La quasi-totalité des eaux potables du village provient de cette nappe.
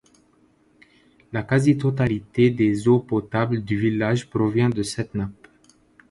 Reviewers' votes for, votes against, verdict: 2, 0, accepted